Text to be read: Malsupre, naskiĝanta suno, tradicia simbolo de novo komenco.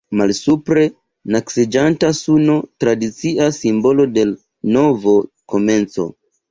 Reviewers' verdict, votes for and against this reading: rejected, 1, 2